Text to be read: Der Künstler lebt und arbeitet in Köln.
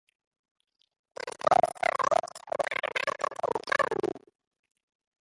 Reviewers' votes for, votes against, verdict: 0, 2, rejected